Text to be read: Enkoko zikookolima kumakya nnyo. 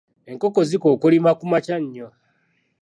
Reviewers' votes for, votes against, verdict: 2, 0, accepted